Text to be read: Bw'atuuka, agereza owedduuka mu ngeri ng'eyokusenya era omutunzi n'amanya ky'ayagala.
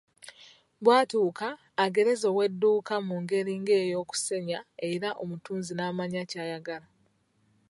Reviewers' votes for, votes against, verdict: 1, 2, rejected